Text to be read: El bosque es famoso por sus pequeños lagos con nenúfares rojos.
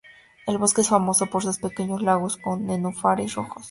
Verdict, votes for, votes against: accepted, 2, 0